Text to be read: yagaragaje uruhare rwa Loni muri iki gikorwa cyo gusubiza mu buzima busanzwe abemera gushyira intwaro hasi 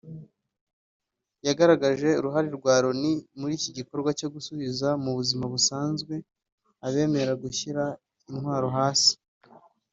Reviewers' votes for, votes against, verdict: 2, 0, accepted